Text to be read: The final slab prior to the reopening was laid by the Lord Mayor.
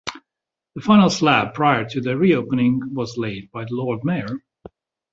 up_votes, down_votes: 2, 0